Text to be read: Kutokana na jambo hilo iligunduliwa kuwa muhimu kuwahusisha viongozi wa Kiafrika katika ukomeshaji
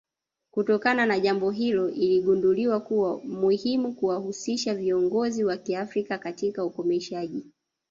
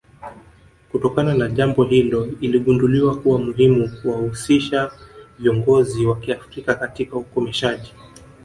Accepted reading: first